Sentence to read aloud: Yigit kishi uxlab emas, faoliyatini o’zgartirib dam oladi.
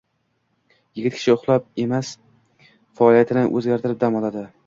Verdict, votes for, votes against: accepted, 2, 0